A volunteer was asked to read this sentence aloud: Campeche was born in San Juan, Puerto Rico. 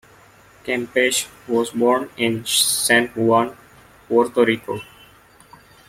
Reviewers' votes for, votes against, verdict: 0, 2, rejected